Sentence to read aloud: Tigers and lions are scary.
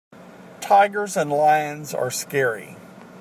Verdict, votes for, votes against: accepted, 2, 0